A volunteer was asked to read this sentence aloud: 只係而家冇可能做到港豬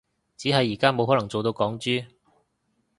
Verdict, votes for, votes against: accepted, 2, 0